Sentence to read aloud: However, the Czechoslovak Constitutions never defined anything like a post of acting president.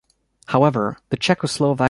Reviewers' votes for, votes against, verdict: 0, 2, rejected